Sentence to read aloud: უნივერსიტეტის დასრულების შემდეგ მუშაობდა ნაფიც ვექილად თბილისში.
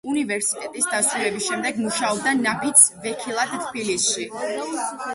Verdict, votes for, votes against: rejected, 1, 2